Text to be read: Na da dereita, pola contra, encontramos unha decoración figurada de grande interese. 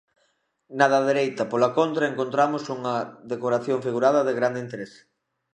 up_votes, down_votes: 2, 0